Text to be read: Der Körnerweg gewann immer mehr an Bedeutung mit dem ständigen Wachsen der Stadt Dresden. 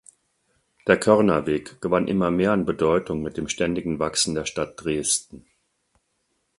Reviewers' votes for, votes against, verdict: 4, 0, accepted